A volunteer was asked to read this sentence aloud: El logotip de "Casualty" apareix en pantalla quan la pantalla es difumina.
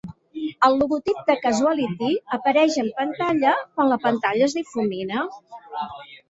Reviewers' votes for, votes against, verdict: 1, 2, rejected